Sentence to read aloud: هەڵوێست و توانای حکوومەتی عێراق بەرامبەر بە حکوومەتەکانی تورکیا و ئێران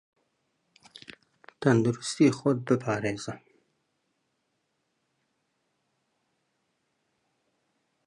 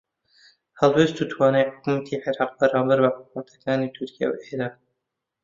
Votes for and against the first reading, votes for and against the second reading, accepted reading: 0, 3, 2, 0, second